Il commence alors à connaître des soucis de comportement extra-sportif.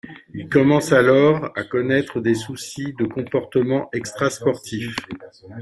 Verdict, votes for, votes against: accepted, 2, 1